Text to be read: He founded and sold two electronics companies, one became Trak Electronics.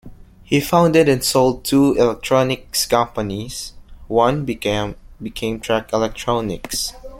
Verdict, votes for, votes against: rejected, 0, 2